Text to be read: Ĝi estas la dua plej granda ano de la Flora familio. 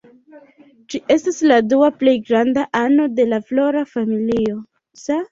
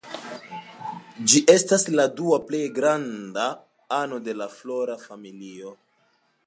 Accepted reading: second